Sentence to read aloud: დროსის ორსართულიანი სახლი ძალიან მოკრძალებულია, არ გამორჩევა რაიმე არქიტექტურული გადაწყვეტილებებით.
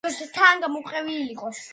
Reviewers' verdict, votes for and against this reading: rejected, 0, 2